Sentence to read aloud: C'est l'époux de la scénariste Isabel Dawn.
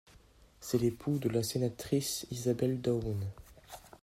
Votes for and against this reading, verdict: 1, 3, rejected